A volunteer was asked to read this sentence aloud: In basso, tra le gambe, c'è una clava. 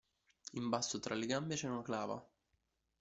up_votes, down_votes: 1, 2